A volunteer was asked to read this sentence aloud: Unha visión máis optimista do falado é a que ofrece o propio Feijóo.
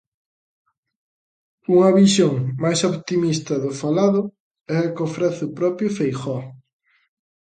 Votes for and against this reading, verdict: 2, 0, accepted